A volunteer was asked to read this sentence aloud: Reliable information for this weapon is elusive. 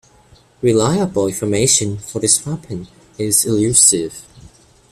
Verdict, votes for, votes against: accepted, 2, 1